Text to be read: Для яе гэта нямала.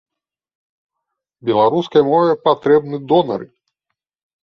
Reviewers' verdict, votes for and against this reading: rejected, 0, 3